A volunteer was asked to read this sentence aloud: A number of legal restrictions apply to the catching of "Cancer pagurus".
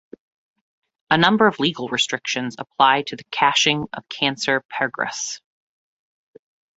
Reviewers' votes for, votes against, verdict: 1, 2, rejected